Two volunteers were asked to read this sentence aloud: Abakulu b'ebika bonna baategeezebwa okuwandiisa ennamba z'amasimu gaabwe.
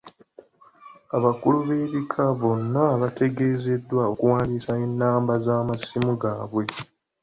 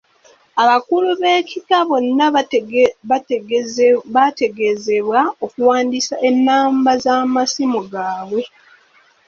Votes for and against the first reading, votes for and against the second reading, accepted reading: 2, 0, 1, 2, first